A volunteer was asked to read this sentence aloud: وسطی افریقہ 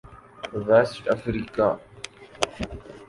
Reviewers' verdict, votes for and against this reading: rejected, 0, 2